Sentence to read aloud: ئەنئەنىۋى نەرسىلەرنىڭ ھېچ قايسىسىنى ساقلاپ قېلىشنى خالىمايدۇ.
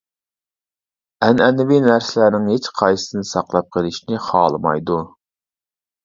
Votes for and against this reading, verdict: 2, 1, accepted